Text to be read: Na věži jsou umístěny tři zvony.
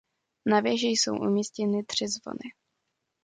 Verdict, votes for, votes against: accepted, 2, 0